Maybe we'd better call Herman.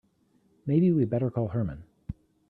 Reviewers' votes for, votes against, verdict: 3, 0, accepted